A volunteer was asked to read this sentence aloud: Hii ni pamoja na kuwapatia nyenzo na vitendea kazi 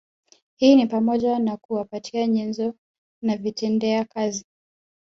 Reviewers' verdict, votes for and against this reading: accepted, 3, 1